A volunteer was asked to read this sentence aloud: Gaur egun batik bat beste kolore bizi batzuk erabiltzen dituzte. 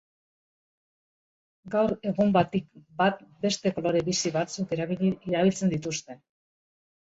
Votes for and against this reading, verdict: 1, 2, rejected